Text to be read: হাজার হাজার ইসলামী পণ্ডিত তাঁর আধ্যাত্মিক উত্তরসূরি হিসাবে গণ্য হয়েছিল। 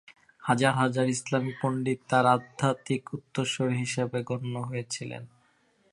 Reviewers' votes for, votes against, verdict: 1, 2, rejected